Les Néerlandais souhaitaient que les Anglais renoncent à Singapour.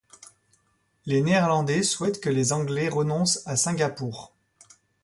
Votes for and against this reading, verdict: 1, 2, rejected